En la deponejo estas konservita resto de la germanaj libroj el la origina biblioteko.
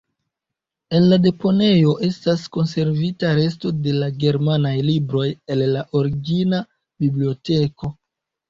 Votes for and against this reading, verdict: 2, 0, accepted